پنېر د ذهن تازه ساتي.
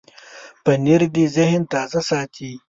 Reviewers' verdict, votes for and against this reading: accepted, 2, 0